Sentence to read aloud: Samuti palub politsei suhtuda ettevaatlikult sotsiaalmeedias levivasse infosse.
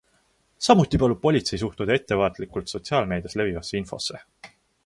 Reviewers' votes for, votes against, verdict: 2, 0, accepted